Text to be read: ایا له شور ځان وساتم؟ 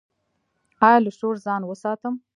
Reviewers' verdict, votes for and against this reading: rejected, 0, 2